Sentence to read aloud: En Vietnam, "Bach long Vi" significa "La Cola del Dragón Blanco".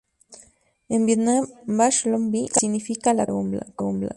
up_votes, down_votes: 0, 2